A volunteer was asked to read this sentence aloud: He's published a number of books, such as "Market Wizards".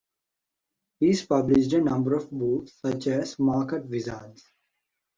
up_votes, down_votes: 2, 1